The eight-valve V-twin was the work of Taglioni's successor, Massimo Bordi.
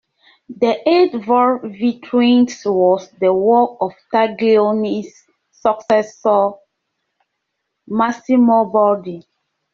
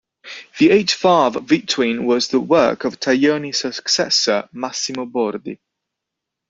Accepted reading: second